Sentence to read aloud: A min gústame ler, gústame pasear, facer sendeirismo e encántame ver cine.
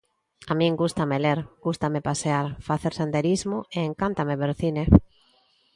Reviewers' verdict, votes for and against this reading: rejected, 0, 2